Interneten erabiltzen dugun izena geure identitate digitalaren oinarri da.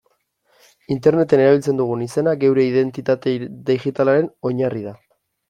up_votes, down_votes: 1, 2